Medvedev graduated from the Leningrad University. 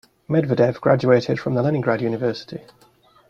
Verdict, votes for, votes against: accepted, 2, 0